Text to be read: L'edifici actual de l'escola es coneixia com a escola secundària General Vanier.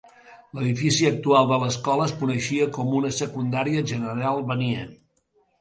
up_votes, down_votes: 0, 2